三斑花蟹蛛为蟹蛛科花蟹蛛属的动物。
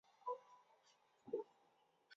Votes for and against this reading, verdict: 0, 4, rejected